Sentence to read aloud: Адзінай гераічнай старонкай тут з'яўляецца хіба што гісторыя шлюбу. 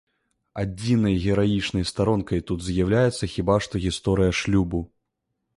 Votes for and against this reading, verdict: 2, 0, accepted